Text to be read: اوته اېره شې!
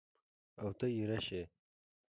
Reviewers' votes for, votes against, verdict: 2, 0, accepted